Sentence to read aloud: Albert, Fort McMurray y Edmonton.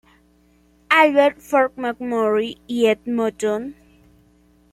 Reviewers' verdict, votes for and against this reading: accepted, 2, 0